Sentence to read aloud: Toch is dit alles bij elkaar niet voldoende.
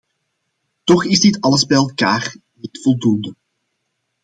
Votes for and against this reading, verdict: 2, 0, accepted